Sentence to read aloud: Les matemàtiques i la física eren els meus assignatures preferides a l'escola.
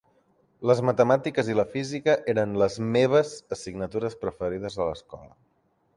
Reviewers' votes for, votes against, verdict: 1, 2, rejected